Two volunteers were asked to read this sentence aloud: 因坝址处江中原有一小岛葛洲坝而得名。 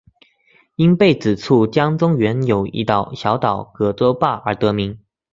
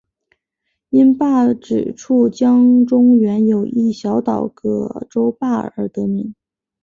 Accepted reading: second